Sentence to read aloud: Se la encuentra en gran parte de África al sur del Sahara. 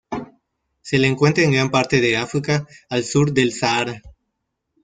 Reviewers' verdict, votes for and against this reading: rejected, 1, 2